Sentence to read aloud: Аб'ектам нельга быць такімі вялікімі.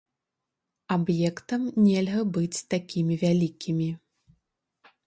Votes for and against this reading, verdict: 2, 0, accepted